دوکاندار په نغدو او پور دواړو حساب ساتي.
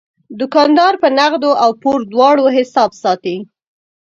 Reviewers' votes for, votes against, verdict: 6, 0, accepted